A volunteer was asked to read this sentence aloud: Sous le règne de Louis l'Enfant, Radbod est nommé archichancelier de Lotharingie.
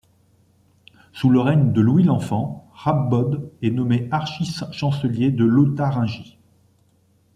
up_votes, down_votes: 1, 2